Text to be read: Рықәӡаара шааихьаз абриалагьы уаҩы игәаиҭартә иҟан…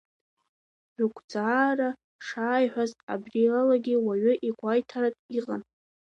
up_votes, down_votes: 0, 2